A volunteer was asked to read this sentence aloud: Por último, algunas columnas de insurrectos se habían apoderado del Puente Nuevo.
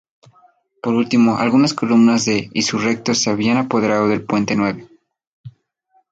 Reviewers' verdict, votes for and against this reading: accepted, 2, 0